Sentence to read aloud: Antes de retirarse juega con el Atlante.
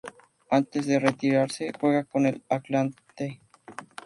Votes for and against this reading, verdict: 0, 2, rejected